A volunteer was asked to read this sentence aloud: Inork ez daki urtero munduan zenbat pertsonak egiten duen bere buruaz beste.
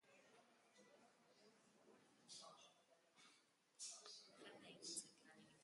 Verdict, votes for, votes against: rejected, 0, 3